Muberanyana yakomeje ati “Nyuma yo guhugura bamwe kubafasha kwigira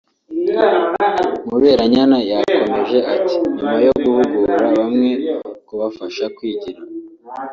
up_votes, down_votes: 2, 1